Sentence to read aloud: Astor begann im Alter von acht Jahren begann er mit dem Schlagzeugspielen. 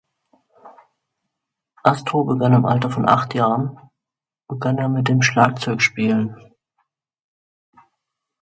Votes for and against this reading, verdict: 2, 0, accepted